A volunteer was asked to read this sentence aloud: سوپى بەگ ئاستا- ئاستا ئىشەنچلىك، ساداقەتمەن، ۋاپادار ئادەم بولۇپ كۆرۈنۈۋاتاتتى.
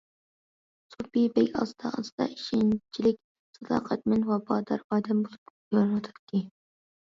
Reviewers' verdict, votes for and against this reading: rejected, 0, 2